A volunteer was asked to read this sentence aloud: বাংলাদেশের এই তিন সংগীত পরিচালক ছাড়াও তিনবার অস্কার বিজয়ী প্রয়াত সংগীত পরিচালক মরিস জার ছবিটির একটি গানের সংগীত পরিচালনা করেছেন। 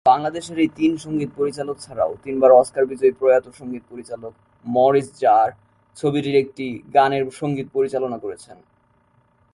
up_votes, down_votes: 2, 0